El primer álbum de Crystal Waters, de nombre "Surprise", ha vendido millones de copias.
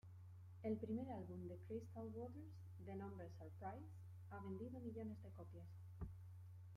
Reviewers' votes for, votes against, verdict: 1, 2, rejected